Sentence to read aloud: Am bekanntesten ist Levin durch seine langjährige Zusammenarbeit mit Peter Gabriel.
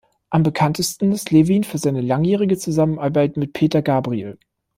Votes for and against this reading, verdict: 1, 2, rejected